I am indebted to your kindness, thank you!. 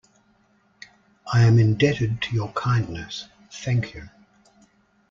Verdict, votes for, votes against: accepted, 2, 0